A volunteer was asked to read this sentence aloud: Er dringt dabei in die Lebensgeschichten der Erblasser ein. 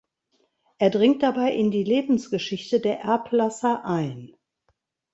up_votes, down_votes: 1, 2